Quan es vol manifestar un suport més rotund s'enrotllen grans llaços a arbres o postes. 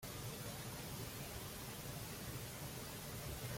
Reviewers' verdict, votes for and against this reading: rejected, 0, 2